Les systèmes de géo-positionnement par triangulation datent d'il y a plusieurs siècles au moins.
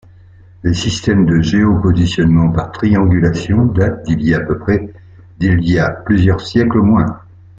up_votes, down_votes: 0, 2